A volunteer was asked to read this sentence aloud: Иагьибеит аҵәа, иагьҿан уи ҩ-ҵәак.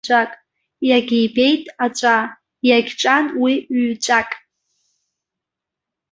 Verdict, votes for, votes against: rejected, 1, 2